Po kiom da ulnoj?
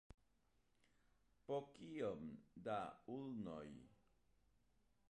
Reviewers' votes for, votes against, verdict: 2, 1, accepted